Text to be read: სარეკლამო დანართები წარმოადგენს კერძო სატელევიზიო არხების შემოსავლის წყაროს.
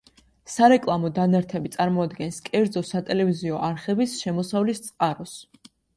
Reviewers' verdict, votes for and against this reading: accepted, 2, 0